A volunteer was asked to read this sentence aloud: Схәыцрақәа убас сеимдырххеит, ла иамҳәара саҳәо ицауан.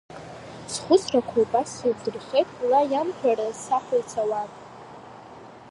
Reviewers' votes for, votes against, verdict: 0, 2, rejected